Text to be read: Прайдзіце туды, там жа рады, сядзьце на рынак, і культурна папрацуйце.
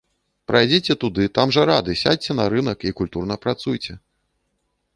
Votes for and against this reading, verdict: 0, 2, rejected